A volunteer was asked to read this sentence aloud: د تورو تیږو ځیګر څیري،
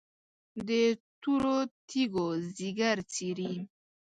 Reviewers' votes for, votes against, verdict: 1, 2, rejected